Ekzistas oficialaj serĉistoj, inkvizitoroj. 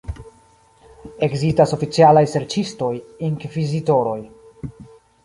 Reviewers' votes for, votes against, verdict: 1, 3, rejected